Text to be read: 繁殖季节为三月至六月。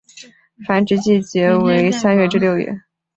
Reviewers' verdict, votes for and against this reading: accepted, 2, 0